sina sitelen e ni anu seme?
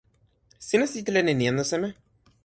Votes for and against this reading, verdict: 2, 0, accepted